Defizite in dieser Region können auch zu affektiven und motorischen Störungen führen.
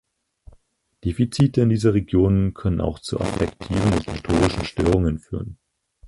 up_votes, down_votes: 2, 4